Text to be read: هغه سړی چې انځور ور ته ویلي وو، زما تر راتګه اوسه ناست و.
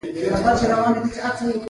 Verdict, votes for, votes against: accepted, 3, 0